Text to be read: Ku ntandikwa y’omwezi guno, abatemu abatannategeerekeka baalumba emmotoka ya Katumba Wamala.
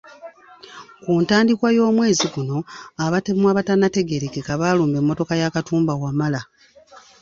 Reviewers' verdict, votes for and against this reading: rejected, 1, 2